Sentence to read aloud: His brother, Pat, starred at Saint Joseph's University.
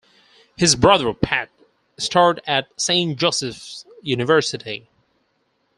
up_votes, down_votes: 4, 0